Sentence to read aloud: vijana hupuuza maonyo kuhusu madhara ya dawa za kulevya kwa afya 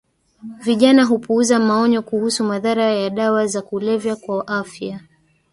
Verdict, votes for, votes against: rejected, 1, 2